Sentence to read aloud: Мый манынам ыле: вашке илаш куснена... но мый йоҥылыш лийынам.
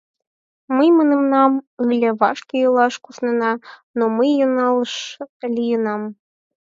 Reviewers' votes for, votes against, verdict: 2, 10, rejected